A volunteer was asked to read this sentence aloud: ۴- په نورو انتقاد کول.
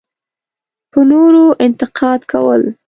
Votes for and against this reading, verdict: 0, 2, rejected